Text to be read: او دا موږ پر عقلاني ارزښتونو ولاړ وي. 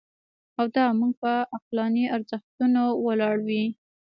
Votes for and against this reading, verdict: 0, 2, rejected